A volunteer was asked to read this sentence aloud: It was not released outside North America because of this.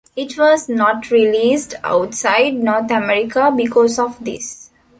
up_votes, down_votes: 2, 0